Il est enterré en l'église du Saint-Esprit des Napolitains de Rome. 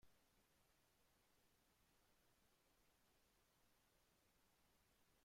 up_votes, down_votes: 0, 2